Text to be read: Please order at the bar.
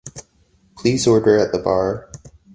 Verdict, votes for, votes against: accepted, 2, 0